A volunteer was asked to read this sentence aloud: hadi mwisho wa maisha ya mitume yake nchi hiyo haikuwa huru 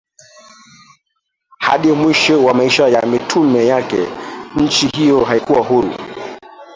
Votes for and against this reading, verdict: 1, 2, rejected